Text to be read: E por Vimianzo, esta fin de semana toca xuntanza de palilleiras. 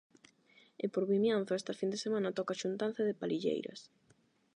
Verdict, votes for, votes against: rejected, 4, 4